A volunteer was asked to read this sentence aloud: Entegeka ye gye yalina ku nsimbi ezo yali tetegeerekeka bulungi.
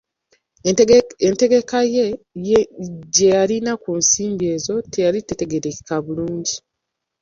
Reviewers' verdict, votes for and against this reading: rejected, 0, 2